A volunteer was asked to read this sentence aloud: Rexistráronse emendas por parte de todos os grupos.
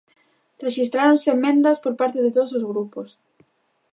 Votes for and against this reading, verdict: 0, 2, rejected